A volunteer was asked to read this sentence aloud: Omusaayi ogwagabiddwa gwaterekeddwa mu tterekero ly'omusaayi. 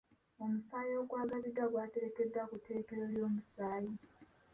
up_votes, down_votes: 1, 2